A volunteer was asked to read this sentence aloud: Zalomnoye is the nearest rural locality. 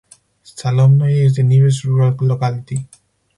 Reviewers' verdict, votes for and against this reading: rejected, 2, 4